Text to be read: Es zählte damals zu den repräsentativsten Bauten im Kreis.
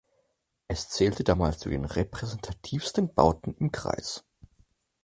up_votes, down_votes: 4, 0